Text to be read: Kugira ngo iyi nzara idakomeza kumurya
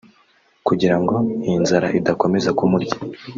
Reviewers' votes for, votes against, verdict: 2, 1, accepted